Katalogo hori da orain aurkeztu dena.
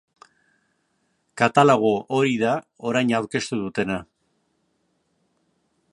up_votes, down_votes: 2, 0